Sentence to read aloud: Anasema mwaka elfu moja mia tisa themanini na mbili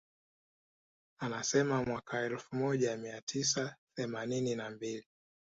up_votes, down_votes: 2, 0